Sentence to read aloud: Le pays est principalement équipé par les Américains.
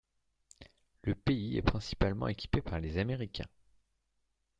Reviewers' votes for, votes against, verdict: 0, 2, rejected